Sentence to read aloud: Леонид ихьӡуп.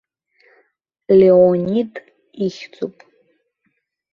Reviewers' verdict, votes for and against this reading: accepted, 2, 1